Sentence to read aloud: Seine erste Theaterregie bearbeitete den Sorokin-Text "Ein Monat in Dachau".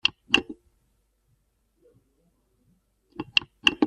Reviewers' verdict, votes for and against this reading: rejected, 0, 2